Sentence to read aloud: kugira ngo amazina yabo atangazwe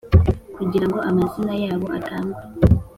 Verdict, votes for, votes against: accepted, 2, 0